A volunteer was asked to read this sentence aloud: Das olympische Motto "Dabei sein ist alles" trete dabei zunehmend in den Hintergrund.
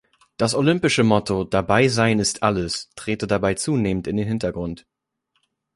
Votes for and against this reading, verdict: 2, 0, accepted